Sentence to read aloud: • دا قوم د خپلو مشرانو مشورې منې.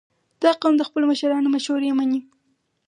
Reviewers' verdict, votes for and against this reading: accepted, 4, 0